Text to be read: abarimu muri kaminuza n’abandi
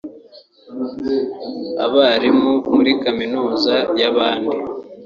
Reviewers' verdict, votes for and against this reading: rejected, 0, 2